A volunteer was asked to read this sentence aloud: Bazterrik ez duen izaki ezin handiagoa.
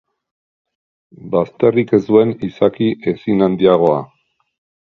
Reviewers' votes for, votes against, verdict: 3, 0, accepted